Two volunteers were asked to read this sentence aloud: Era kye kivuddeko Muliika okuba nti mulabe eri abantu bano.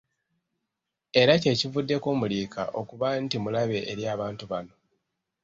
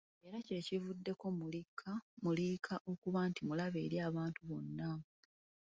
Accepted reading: first